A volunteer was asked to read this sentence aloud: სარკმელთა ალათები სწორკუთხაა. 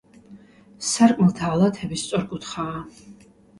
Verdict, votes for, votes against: accepted, 2, 0